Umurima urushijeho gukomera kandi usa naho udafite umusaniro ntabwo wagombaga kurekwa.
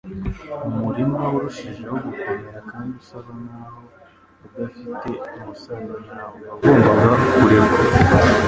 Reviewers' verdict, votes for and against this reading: rejected, 0, 2